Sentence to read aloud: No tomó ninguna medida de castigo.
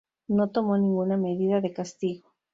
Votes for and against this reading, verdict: 4, 0, accepted